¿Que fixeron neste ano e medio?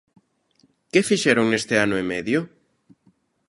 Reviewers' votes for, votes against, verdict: 2, 0, accepted